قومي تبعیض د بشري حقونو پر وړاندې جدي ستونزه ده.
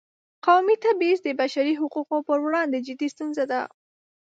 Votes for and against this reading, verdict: 2, 0, accepted